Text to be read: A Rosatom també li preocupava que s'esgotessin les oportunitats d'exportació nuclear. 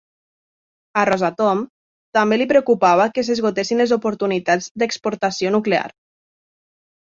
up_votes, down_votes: 2, 0